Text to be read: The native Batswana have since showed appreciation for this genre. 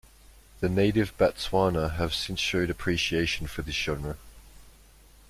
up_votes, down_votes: 2, 0